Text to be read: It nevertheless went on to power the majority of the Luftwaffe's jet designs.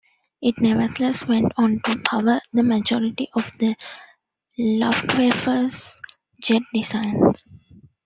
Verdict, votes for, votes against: rejected, 1, 2